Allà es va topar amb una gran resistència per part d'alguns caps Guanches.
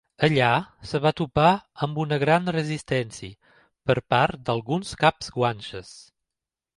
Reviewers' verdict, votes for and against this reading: rejected, 0, 2